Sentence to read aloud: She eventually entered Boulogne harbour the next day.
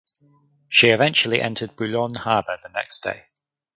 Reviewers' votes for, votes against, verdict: 4, 0, accepted